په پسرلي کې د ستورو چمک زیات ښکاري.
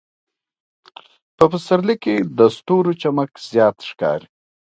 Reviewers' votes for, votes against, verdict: 1, 2, rejected